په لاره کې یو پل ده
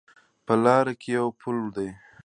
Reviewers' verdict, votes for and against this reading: accepted, 2, 1